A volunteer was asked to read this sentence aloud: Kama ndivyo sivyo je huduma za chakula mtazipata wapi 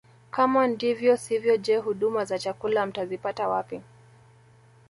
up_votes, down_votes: 2, 0